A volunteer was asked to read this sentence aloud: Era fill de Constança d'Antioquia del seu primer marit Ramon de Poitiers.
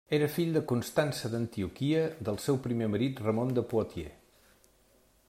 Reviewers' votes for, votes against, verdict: 2, 0, accepted